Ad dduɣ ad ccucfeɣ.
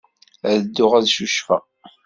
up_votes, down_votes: 2, 0